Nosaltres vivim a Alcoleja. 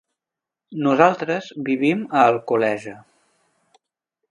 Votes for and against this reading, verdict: 3, 0, accepted